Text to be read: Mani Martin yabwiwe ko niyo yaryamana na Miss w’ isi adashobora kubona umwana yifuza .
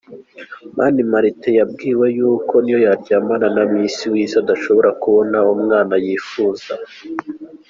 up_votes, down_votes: 2, 1